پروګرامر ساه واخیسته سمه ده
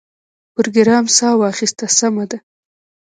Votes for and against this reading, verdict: 0, 2, rejected